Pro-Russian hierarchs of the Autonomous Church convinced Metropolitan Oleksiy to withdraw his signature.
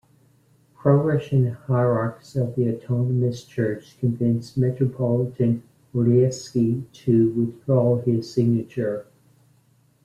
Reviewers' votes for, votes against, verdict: 1, 2, rejected